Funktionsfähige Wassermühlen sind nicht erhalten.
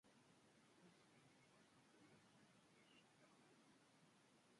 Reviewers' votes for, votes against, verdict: 0, 2, rejected